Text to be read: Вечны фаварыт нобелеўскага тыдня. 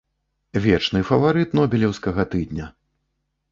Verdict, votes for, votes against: accepted, 2, 0